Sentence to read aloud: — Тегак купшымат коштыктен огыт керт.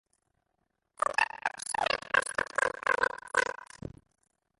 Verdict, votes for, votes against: rejected, 0, 3